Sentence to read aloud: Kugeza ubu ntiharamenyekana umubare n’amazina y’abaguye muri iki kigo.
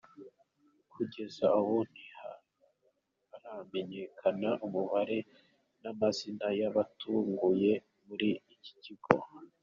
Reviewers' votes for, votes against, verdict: 1, 2, rejected